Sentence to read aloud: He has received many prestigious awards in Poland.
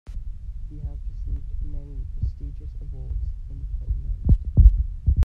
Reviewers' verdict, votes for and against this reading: rejected, 0, 2